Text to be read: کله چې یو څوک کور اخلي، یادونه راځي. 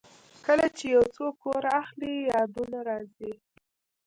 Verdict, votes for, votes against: rejected, 1, 2